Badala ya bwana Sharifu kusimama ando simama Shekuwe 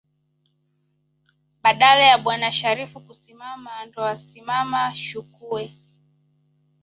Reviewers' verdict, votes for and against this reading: rejected, 1, 2